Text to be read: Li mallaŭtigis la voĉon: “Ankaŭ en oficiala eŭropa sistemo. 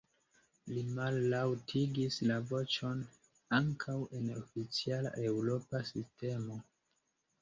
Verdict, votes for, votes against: rejected, 1, 2